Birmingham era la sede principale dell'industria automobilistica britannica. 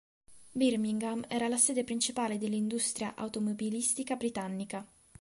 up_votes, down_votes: 2, 0